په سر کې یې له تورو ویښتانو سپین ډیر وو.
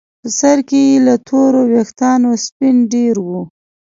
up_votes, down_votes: 2, 0